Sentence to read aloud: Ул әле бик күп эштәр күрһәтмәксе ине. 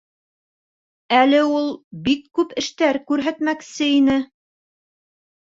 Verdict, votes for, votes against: rejected, 0, 2